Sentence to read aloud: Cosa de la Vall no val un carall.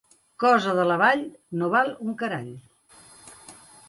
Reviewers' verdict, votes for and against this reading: accepted, 2, 0